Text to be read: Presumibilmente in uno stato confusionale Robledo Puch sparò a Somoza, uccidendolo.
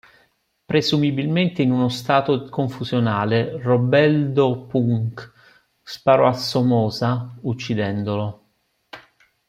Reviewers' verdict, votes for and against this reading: rejected, 0, 3